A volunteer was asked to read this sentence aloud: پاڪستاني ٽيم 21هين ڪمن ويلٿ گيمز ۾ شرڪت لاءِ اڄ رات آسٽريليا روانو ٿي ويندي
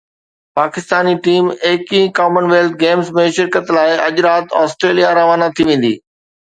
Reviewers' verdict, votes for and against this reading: rejected, 0, 2